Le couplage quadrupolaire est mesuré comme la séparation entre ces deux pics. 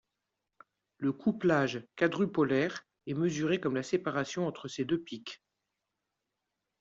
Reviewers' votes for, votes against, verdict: 2, 0, accepted